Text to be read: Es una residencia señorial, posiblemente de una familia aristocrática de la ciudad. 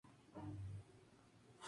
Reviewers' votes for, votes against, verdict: 0, 2, rejected